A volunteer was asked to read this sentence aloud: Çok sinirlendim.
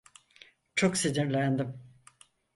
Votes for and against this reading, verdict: 4, 0, accepted